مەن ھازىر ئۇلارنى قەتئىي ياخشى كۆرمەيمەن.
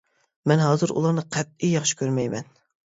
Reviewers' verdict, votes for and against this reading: accepted, 2, 0